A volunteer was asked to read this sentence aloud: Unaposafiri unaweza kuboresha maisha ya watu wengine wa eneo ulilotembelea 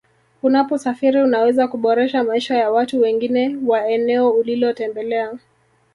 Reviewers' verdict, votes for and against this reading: rejected, 1, 2